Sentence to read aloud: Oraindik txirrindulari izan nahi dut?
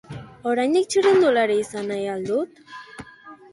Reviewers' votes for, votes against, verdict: 1, 2, rejected